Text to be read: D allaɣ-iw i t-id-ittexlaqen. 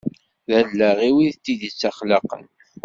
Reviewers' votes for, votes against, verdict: 2, 1, accepted